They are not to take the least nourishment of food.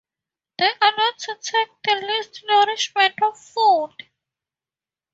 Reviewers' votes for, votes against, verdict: 2, 0, accepted